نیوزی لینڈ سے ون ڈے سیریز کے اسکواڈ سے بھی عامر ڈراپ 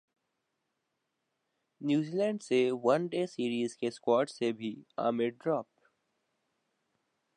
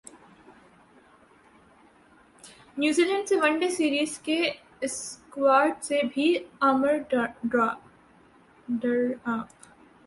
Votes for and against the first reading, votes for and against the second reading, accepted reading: 2, 0, 0, 2, first